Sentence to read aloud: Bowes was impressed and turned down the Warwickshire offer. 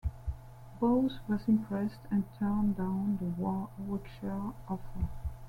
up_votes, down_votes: 1, 2